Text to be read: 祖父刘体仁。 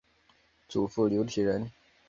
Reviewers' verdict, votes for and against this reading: accepted, 3, 0